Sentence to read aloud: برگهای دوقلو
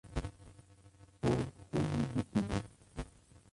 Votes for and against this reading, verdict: 0, 2, rejected